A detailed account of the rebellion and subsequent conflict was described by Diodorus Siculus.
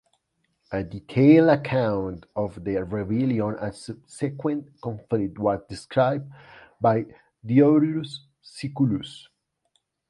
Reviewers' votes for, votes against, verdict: 1, 2, rejected